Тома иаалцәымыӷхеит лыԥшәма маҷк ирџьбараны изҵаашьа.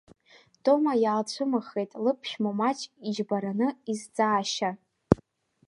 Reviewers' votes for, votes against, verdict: 1, 2, rejected